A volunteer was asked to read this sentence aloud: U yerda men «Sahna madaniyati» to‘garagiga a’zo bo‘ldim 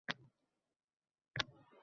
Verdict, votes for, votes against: rejected, 0, 2